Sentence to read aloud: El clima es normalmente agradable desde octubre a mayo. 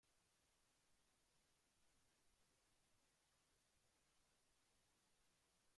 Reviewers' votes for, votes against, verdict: 0, 2, rejected